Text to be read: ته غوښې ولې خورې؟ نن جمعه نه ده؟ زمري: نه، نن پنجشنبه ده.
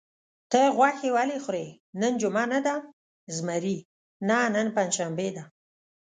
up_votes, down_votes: 1, 2